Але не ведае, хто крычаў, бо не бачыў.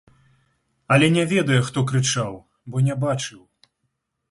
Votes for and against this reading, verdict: 1, 2, rejected